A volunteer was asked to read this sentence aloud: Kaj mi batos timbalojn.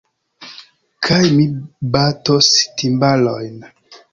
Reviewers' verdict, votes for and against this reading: accepted, 2, 0